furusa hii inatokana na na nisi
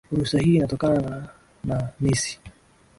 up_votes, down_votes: 2, 0